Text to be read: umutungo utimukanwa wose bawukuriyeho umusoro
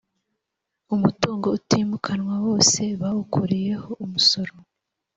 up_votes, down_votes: 3, 0